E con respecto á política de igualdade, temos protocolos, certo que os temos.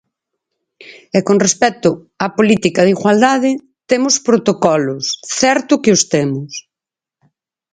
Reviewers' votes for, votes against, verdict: 4, 0, accepted